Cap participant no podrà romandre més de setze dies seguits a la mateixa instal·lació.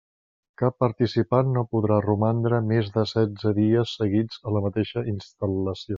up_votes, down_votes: 1, 2